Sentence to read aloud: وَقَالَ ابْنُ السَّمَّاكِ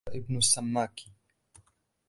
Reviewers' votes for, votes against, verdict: 2, 0, accepted